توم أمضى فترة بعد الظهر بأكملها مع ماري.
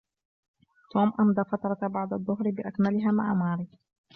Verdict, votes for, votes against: accepted, 2, 0